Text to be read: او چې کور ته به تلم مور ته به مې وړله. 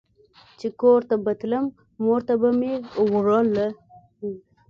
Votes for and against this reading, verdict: 2, 0, accepted